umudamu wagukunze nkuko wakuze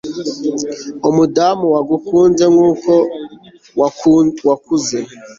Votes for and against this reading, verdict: 0, 2, rejected